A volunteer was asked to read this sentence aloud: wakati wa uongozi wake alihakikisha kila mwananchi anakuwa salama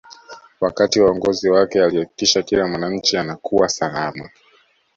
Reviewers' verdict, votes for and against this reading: accepted, 2, 0